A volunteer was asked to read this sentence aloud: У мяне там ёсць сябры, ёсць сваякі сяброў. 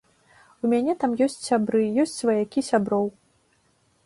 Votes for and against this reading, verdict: 3, 0, accepted